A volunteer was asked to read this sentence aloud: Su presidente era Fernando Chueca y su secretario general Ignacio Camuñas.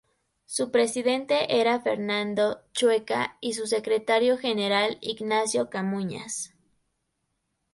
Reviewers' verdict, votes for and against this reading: accepted, 2, 0